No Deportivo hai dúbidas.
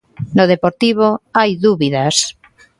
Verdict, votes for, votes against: accepted, 2, 0